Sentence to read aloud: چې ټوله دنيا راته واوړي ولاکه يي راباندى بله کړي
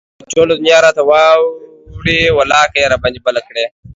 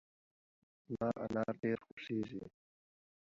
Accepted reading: first